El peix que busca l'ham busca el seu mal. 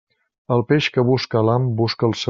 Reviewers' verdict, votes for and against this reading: rejected, 0, 2